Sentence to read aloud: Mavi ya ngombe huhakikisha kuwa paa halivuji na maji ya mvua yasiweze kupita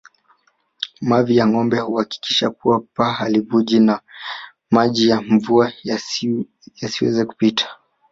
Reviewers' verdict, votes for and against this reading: rejected, 1, 2